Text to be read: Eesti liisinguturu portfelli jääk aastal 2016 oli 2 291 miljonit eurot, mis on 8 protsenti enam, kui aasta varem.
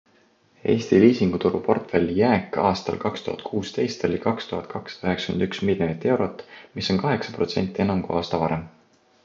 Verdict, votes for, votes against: rejected, 0, 2